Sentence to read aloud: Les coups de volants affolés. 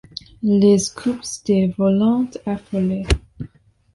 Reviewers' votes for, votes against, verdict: 0, 2, rejected